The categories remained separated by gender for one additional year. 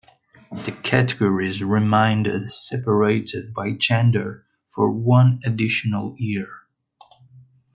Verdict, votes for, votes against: rejected, 0, 2